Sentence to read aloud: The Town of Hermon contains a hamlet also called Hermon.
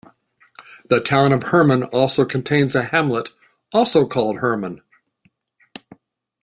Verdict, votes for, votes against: rejected, 1, 2